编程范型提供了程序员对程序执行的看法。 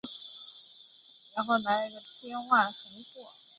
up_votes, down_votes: 2, 3